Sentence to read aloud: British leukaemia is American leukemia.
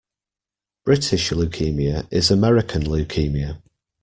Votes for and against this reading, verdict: 2, 0, accepted